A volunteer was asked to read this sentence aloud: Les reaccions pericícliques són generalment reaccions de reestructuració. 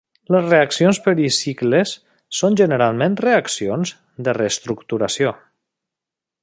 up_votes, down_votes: 0, 2